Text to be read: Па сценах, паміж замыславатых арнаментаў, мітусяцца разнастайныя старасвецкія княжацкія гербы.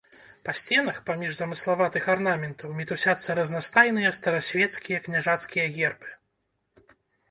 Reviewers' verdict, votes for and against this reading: accepted, 3, 0